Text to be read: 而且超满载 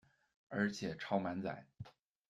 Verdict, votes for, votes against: accepted, 2, 0